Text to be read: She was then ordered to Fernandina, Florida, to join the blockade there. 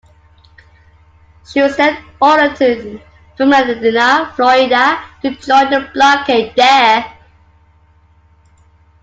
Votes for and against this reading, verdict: 2, 1, accepted